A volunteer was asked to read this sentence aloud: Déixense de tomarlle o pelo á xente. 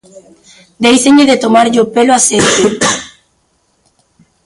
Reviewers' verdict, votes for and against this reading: rejected, 0, 2